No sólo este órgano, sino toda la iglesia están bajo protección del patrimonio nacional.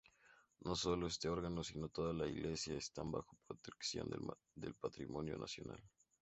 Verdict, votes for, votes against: rejected, 0, 2